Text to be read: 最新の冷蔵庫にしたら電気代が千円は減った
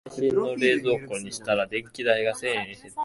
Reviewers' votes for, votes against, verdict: 0, 2, rejected